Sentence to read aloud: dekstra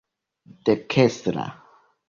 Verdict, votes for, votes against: rejected, 0, 2